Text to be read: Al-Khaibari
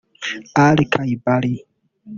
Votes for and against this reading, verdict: 0, 2, rejected